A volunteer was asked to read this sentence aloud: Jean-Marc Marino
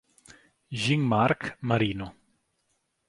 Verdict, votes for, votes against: rejected, 1, 2